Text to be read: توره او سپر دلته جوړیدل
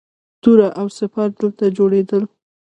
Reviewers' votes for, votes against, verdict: 0, 2, rejected